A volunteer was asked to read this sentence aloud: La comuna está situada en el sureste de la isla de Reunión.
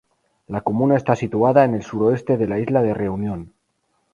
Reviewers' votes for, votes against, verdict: 0, 4, rejected